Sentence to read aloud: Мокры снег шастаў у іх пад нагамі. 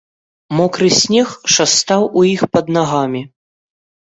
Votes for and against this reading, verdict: 1, 2, rejected